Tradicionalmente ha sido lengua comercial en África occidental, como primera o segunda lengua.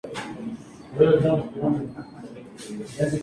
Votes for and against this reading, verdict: 0, 4, rejected